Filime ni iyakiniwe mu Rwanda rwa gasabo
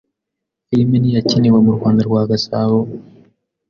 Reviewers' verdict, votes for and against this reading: accepted, 2, 0